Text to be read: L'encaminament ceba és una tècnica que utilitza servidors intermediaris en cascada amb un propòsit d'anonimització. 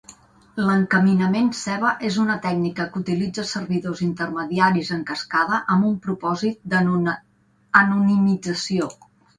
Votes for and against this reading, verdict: 1, 2, rejected